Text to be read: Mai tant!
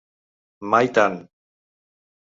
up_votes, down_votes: 3, 0